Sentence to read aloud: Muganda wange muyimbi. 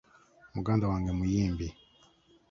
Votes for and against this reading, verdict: 2, 0, accepted